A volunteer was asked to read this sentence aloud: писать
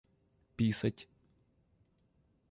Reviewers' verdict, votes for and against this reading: rejected, 1, 2